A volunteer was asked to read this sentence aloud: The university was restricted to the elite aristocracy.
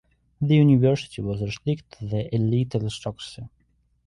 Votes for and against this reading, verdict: 2, 1, accepted